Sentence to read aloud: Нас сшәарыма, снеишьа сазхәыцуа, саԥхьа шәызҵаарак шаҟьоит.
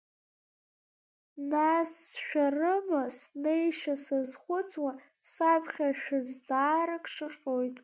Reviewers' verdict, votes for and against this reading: rejected, 0, 2